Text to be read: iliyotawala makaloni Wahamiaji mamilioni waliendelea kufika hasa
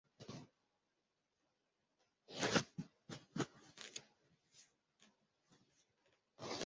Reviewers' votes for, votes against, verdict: 0, 2, rejected